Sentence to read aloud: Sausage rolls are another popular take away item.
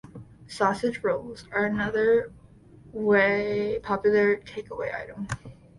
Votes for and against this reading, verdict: 0, 2, rejected